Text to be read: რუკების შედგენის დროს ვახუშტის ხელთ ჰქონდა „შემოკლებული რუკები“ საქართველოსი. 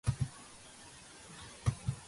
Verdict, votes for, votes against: rejected, 0, 2